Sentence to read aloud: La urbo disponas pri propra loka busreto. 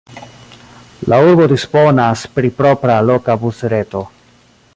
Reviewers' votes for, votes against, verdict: 1, 2, rejected